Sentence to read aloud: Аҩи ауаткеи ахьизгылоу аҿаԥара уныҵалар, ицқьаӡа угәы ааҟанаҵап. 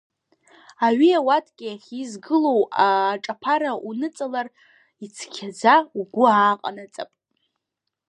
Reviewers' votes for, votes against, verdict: 1, 2, rejected